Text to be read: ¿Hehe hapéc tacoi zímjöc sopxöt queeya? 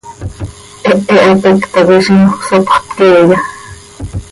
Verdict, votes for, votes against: accepted, 2, 0